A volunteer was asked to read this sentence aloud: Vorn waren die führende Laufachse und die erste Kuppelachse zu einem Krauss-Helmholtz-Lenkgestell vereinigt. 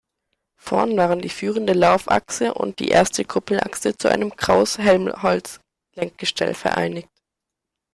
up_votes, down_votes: 2, 0